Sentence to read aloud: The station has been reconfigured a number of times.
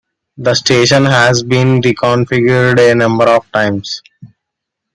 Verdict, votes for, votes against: accepted, 3, 0